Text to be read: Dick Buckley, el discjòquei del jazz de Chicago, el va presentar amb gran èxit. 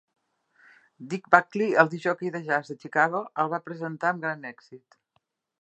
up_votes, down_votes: 2, 0